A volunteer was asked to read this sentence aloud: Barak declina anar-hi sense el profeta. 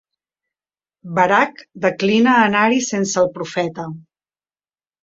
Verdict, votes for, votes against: accepted, 2, 0